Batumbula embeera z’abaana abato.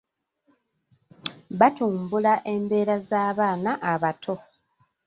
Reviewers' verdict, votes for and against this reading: accepted, 2, 0